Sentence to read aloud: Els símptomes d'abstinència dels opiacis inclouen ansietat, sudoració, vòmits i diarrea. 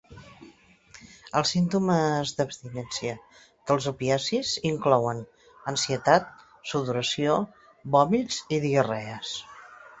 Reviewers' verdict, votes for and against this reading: rejected, 0, 2